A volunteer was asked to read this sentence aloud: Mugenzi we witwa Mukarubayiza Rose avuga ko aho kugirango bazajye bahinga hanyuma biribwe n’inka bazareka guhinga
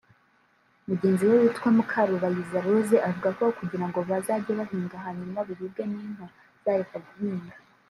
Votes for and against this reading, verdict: 0, 2, rejected